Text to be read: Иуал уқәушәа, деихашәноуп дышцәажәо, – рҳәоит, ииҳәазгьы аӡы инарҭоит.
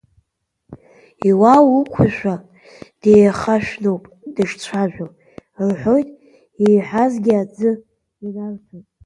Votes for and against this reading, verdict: 1, 2, rejected